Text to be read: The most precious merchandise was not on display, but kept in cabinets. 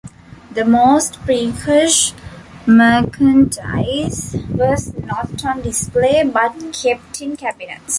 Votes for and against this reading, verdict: 1, 2, rejected